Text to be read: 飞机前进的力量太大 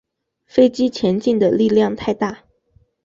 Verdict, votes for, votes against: accepted, 2, 0